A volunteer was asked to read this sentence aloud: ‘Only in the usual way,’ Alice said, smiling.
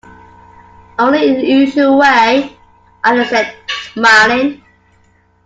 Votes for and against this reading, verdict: 2, 1, accepted